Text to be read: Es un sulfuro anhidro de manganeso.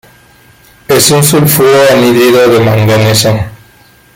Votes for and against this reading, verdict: 0, 2, rejected